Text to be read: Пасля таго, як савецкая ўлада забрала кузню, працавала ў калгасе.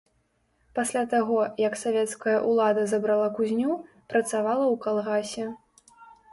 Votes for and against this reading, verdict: 1, 2, rejected